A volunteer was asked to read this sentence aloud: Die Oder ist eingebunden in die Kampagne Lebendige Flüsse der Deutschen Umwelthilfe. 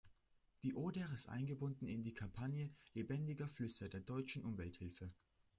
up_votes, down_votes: 1, 2